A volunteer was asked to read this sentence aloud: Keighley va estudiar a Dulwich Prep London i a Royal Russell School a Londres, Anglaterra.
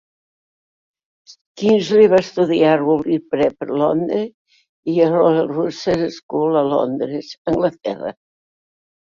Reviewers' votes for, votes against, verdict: 1, 2, rejected